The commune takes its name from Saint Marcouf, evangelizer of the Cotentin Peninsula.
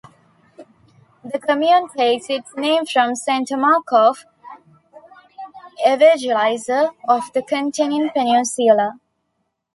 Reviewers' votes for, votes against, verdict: 0, 2, rejected